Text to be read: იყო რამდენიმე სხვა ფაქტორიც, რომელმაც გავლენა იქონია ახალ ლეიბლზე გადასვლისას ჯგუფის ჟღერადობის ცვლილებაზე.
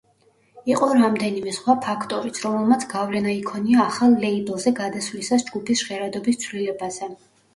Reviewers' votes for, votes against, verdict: 2, 0, accepted